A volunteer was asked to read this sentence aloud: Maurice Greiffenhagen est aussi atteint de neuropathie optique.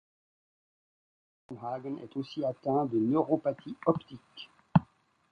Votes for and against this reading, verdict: 0, 2, rejected